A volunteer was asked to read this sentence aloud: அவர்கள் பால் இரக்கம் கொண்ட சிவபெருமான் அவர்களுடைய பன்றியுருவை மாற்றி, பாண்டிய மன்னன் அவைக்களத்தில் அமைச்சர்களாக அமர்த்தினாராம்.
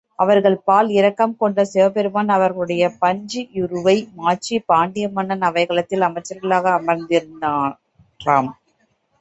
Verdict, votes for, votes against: rejected, 0, 2